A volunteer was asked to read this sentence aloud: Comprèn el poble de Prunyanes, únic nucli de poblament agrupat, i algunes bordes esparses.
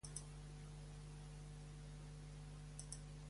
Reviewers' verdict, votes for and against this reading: rejected, 0, 2